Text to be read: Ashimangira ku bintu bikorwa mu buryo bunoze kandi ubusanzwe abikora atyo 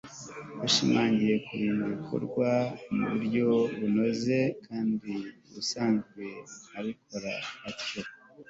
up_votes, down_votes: 2, 0